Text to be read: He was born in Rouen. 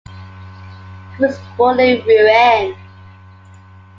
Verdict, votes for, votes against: accepted, 2, 0